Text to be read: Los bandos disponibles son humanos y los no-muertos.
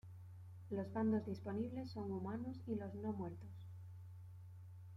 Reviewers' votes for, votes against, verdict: 1, 2, rejected